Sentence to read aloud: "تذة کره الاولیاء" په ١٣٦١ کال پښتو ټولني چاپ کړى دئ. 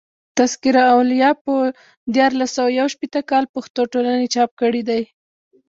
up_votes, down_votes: 0, 2